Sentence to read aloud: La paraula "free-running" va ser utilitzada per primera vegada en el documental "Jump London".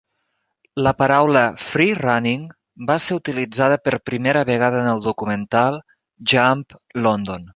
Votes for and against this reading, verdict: 4, 0, accepted